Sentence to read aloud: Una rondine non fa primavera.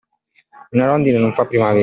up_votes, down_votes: 0, 2